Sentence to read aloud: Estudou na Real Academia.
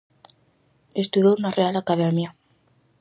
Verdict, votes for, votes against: accepted, 4, 0